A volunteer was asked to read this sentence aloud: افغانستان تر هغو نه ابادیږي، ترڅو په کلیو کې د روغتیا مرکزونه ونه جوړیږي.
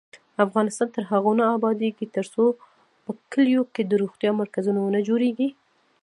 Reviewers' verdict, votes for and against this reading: accepted, 2, 1